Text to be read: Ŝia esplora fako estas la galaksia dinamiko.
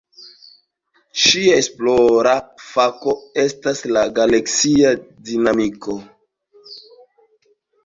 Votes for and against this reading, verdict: 2, 1, accepted